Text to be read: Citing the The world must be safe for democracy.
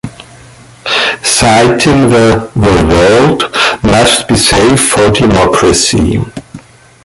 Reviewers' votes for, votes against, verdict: 1, 2, rejected